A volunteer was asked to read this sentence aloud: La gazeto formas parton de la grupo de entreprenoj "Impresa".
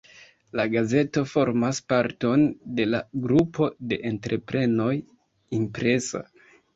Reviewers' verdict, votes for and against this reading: accepted, 2, 0